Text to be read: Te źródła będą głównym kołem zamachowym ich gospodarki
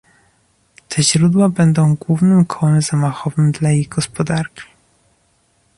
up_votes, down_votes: 1, 3